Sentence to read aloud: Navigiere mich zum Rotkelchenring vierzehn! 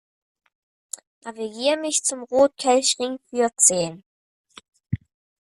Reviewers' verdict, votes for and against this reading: rejected, 0, 2